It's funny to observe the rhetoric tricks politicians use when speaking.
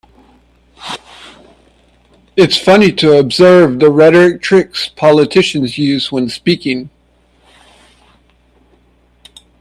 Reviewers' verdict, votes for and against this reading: accepted, 2, 1